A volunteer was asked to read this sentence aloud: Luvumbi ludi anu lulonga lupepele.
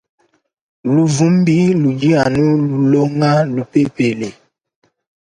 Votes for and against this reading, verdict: 1, 2, rejected